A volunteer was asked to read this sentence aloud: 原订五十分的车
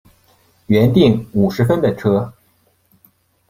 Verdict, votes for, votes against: accepted, 2, 0